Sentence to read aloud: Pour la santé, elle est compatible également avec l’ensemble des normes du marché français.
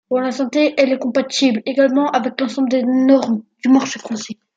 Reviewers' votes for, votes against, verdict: 0, 2, rejected